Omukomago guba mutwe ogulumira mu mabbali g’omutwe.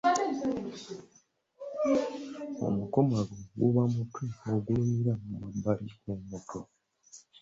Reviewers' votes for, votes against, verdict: 1, 2, rejected